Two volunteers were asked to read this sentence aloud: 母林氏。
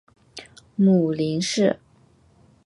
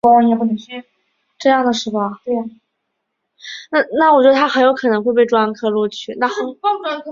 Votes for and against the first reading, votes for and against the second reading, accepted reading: 2, 0, 0, 4, first